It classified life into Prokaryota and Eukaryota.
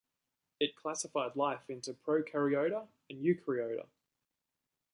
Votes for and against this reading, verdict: 2, 0, accepted